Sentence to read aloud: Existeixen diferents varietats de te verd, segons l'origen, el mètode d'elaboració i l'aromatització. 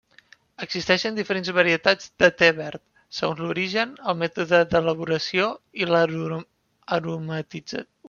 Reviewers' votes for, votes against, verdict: 0, 2, rejected